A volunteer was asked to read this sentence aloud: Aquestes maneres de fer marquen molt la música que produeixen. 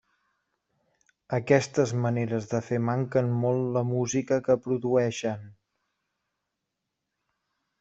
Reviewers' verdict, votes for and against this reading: rejected, 0, 2